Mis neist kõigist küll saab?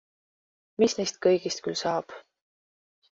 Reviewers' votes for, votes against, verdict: 2, 0, accepted